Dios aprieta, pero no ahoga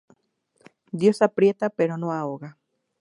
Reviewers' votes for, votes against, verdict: 2, 0, accepted